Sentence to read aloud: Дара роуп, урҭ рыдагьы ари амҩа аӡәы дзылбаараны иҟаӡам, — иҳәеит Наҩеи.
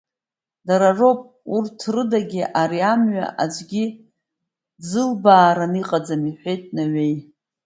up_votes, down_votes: 0, 2